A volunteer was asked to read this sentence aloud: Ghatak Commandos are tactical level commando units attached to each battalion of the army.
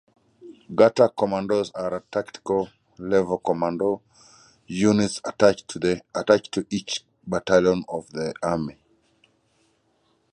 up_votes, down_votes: 0, 2